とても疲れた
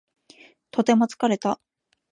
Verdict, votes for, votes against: accepted, 2, 0